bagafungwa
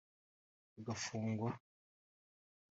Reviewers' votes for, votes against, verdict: 1, 2, rejected